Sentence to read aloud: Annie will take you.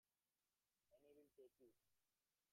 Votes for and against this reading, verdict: 0, 3, rejected